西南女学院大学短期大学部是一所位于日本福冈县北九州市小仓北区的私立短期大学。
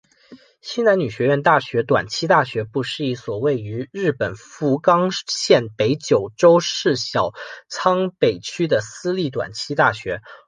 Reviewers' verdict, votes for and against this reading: accepted, 2, 1